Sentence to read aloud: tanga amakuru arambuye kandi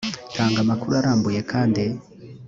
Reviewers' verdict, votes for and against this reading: accepted, 2, 0